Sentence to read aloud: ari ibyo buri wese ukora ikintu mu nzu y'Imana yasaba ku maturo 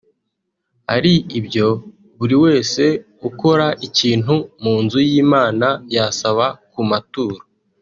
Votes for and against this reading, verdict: 2, 0, accepted